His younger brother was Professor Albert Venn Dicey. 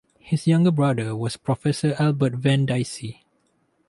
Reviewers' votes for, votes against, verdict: 2, 0, accepted